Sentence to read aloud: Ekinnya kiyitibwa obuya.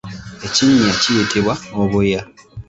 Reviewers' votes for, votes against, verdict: 2, 0, accepted